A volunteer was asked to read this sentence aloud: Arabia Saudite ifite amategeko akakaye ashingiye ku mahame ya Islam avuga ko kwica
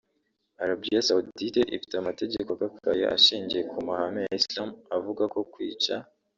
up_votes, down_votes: 2, 0